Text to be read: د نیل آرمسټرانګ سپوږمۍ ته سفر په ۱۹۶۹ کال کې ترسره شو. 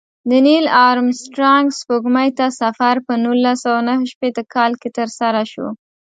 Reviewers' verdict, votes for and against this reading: rejected, 0, 2